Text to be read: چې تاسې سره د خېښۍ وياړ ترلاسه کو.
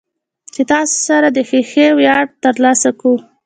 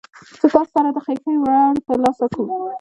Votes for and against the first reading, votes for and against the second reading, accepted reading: 3, 1, 1, 2, first